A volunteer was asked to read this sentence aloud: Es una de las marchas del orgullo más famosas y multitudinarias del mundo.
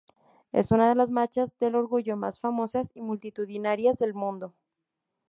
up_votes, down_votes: 2, 0